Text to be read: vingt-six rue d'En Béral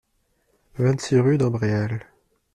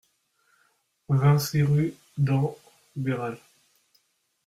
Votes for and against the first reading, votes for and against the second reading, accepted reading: 1, 2, 2, 1, second